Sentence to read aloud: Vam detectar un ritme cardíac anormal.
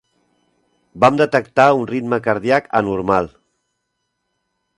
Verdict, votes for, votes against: accepted, 4, 1